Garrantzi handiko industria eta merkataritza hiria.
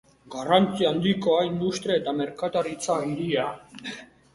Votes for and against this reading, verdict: 0, 2, rejected